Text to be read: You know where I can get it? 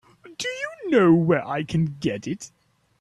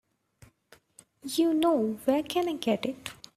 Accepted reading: second